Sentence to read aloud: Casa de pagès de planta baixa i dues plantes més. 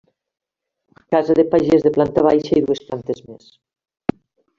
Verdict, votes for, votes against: accepted, 3, 0